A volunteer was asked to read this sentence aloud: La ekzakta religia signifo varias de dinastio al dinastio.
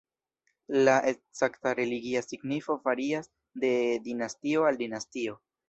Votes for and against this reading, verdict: 2, 0, accepted